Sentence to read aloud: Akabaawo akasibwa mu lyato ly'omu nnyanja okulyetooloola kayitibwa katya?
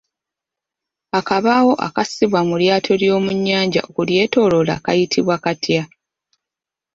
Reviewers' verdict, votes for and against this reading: rejected, 1, 2